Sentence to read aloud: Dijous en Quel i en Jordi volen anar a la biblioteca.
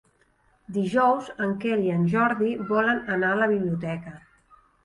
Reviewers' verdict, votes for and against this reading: accepted, 3, 0